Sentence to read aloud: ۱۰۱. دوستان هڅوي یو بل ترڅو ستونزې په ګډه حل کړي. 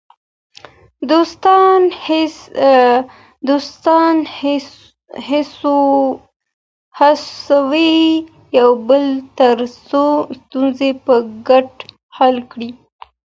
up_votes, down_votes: 0, 2